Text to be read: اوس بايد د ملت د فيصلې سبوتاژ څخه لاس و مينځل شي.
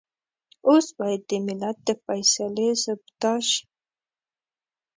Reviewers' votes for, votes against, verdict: 0, 2, rejected